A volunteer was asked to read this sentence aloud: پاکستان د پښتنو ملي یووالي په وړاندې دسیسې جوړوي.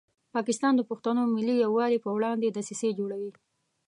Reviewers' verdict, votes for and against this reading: accepted, 2, 0